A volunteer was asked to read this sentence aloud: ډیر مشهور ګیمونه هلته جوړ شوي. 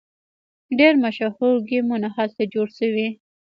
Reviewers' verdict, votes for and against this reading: accepted, 2, 0